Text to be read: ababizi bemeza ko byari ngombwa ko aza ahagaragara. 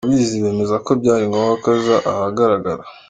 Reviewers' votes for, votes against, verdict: 2, 0, accepted